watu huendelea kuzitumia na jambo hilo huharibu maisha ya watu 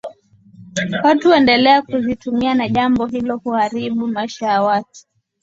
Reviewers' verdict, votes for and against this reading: accepted, 2, 0